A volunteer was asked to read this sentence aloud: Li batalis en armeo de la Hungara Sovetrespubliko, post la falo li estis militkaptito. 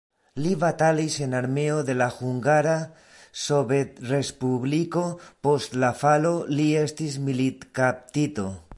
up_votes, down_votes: 2, 0